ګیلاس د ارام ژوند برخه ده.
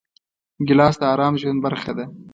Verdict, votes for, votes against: accepted, 2, 0